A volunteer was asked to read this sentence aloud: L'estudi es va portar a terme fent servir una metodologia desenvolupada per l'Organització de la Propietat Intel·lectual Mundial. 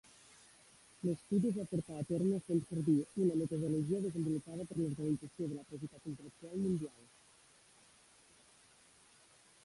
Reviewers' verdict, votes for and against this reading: rejected, 0, 2